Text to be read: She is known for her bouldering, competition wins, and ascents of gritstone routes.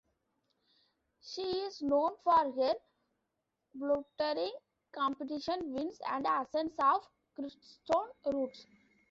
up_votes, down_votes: 0, 2